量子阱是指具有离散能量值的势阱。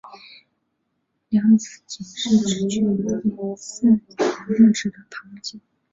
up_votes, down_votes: 2, 1